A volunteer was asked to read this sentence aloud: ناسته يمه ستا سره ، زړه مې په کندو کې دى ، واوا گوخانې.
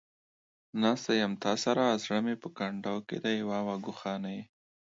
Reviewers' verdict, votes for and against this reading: accepted, 2, 0